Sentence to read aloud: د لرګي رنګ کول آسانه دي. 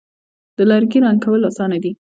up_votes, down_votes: 2, 1